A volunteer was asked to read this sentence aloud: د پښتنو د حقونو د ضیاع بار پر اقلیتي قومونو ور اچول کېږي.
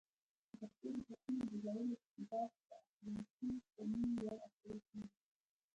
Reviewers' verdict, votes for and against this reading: rejected, 1, 2